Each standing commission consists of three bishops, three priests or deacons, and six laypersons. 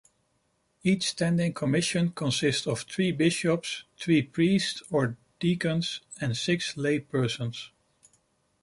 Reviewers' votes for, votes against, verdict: 2, 0, accepted